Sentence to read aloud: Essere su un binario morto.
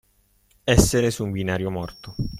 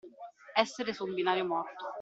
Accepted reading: first